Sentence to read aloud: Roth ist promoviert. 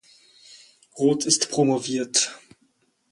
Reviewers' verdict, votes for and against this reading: accepted, 4, 0